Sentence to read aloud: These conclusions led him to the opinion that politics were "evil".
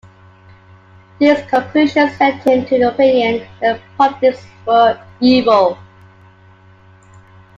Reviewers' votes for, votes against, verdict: 0, 2, rejected